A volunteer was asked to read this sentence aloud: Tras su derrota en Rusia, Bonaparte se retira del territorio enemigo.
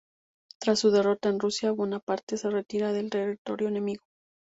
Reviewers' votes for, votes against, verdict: 2, 0, accepted